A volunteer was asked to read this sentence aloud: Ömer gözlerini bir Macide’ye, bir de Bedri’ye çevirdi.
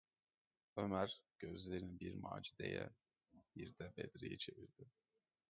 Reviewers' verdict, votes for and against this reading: rejected, 1, 2